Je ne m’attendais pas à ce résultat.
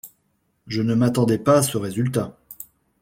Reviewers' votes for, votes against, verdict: 2, 0, accepted